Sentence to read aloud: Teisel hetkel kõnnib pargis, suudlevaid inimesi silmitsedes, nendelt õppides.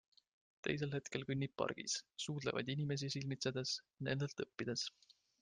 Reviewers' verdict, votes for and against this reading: accepted, 2, 1